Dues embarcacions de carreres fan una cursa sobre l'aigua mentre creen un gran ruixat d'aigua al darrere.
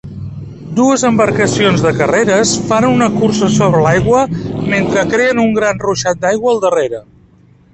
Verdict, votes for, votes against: accepted, 2, 0